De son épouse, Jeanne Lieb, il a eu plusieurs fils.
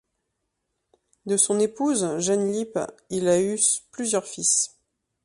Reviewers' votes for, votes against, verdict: 1, 2, rejected